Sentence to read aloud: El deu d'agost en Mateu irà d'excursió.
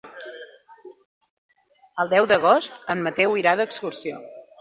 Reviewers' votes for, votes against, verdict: 3, 0, accepted